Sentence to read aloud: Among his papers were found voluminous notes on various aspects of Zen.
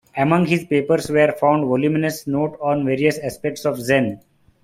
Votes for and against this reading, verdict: 2, 0, accepted